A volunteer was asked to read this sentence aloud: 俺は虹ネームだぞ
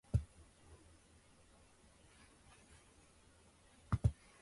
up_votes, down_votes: 0, 3